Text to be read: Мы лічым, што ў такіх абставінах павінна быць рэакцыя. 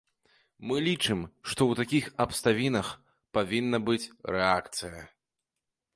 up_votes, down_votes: 0, 2